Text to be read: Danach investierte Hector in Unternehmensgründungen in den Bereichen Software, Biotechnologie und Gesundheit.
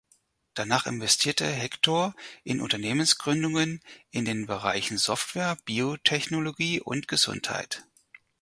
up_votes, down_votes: 4, 0